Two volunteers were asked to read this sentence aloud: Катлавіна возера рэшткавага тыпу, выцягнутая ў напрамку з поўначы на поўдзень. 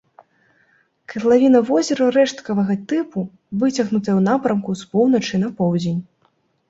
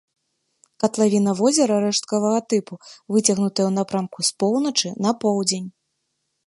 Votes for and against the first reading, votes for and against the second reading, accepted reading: 1, 2, 2, 0, second